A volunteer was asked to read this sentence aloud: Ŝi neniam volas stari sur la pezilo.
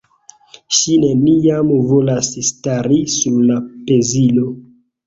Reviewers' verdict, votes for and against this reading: accepted, 2, 1